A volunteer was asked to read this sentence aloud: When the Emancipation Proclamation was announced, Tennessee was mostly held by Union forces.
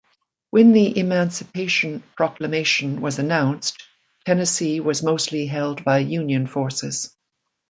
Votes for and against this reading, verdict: 2, 0, accepted